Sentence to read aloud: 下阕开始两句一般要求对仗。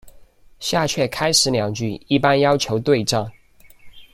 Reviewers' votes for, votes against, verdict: 2, 0, accepted